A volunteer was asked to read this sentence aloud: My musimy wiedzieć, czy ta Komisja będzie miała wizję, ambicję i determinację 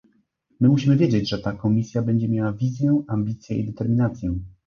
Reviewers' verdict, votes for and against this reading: rejected, 0, 2